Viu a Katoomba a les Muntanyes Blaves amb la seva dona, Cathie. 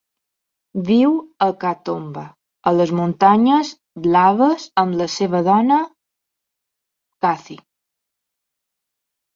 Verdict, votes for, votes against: accepted, 2, 0